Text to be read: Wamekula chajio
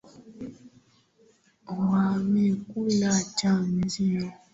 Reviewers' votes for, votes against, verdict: 2, 0, accepted